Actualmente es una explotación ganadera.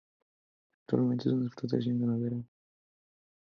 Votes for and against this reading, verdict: 0, 2, rejected